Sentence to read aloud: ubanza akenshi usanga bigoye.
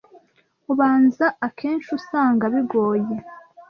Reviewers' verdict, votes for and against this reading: accepted, 2, 0